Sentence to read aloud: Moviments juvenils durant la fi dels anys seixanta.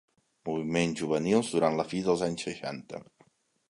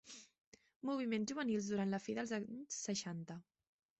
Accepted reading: first